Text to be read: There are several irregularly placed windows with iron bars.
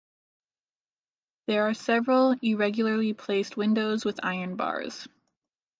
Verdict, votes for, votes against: accepted, 2, 0